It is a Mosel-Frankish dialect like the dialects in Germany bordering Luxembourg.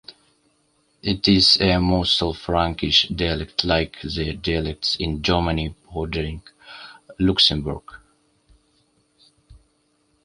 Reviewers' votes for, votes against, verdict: 2, 0, accepted